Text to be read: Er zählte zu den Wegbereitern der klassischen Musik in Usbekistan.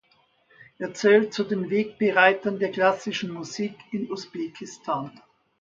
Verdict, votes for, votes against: accepted, 2, 1